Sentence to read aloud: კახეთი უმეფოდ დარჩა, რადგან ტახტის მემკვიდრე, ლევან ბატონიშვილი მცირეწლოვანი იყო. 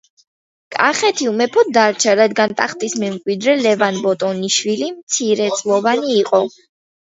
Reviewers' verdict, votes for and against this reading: accepted, 2, 0